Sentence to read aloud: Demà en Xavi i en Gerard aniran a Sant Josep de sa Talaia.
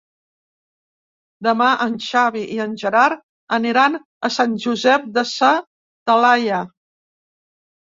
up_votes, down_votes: 4, 0